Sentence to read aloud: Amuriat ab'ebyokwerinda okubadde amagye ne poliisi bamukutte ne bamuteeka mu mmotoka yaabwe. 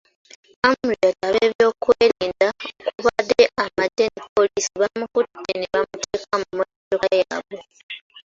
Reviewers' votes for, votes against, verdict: 2, 1, accepted